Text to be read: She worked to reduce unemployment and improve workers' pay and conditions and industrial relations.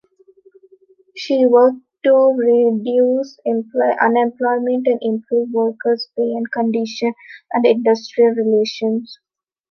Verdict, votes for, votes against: rejected, 1, 2